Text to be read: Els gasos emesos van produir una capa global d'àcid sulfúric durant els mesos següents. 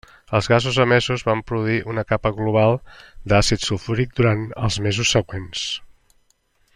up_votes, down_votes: 3, 0